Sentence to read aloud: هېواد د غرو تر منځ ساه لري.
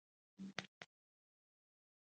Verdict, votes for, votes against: accepted, 2, 0